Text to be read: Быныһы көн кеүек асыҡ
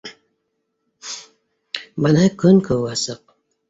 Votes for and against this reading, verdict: 1, 2, rejected